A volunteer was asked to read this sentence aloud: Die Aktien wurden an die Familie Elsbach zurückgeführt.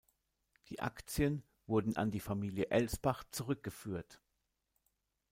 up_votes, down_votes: 2, 0